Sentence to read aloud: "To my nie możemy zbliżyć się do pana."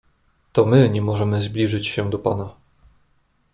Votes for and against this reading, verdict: 2, 0, accepted